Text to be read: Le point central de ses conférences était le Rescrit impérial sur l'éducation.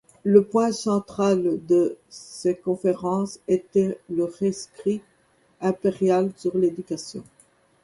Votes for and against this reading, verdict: 2, 0, accepted